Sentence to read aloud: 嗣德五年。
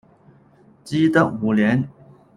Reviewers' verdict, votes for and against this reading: rejected, 0, 2